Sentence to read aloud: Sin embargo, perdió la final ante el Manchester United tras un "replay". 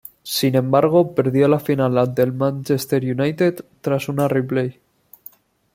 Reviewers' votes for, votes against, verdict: 1, 2, rejected